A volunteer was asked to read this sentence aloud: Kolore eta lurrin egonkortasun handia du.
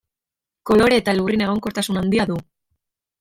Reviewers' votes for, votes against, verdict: 2, 1, accepted